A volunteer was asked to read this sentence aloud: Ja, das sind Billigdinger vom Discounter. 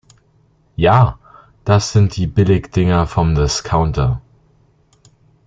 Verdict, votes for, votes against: rejected, 0, 2